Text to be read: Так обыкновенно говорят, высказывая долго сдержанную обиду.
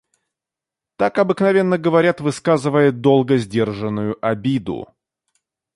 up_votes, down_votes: 2, 0